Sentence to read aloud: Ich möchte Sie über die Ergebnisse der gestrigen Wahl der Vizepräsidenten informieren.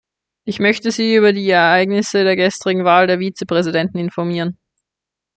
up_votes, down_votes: 0, 2